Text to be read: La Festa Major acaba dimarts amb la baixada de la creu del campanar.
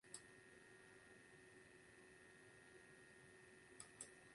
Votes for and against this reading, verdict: 0, 2, rejected